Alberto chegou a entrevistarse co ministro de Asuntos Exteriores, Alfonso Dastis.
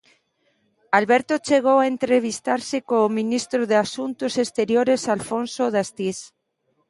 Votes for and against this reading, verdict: 0, 2, rejected